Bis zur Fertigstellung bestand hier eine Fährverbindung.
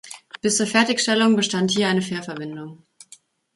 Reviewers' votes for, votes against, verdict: 2, 0, accepted